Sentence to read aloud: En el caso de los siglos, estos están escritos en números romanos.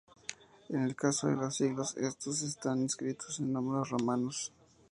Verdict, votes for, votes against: accepted, 2, 0